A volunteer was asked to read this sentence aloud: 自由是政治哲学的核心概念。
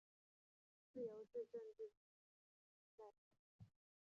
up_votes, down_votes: 1, 2